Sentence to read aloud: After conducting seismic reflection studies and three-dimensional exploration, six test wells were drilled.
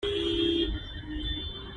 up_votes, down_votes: 0, 2